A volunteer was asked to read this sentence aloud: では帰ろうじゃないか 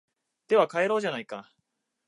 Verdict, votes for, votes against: accepted, 5, 0